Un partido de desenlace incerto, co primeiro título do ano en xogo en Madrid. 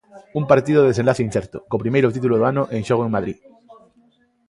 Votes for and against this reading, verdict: 2, 0, accepted